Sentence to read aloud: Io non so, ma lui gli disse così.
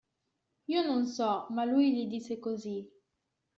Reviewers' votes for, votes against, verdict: 2, 0, accepted